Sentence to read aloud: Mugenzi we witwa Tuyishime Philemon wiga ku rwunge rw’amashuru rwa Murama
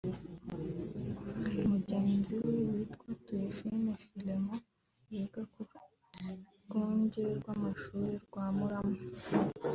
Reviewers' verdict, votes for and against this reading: rejected, 1, 2